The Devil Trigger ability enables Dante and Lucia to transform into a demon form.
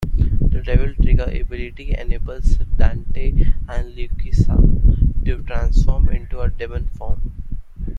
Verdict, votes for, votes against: accepted, 2, 1